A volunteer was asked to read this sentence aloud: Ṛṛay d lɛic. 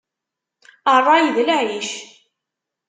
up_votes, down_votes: 2, 0